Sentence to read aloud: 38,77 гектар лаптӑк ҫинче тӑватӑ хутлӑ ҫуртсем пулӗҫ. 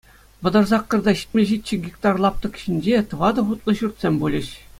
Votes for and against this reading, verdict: 0, 2, rejected